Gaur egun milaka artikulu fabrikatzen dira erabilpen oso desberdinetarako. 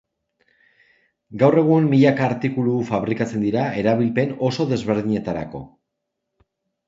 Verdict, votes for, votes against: accepted, 2, 0